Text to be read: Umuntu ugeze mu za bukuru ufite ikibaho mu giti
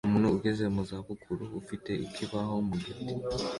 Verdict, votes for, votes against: accepted, 2, 0